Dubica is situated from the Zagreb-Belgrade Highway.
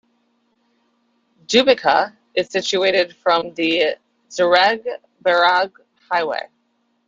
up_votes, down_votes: 0, 2